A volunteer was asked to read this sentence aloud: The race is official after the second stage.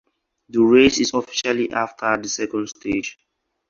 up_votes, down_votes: 0, 4